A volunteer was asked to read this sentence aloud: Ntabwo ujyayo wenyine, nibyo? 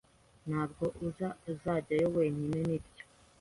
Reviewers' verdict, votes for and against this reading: rejected, 0, 2